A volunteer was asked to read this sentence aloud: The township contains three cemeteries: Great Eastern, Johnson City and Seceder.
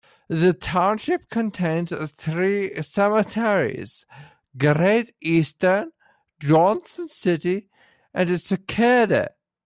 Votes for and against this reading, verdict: 0, 2, rejected